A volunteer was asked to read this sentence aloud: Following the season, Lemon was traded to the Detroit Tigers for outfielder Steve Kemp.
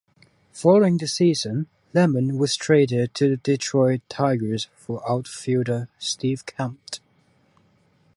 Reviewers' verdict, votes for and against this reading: rejected, 0, 3